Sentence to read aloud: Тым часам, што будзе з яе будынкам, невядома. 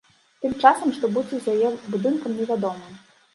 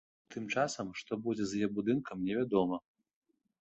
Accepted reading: second